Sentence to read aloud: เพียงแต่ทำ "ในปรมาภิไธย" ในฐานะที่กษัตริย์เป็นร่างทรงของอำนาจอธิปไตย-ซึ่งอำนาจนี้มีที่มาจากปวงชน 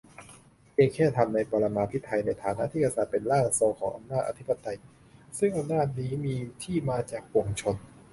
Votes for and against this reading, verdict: 0, 2, rejected